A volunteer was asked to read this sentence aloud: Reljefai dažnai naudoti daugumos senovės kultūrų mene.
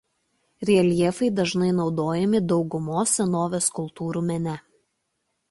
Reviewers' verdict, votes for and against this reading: rejected, 1, 2